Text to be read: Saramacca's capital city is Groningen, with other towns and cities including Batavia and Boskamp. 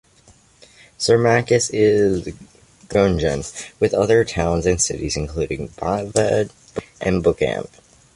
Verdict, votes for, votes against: rejected, 0, 2